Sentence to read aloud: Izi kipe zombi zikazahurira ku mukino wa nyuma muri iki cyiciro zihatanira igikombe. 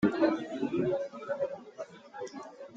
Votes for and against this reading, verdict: 0, 2, rejected